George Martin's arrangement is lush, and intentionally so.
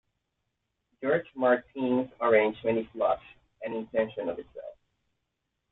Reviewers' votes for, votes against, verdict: 2, 0, accepted